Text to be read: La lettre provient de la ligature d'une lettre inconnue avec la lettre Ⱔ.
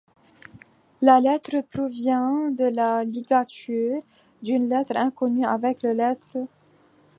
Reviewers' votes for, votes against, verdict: 1, 2, rejected